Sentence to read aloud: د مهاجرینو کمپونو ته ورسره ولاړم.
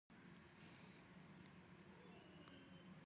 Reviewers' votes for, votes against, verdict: 0, 4, rejected